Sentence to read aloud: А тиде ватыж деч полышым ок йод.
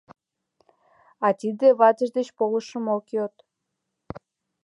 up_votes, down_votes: 2, 0